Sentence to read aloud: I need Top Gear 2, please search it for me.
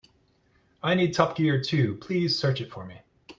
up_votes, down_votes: 0, 2